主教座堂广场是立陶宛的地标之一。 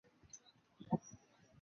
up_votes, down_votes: 0, 4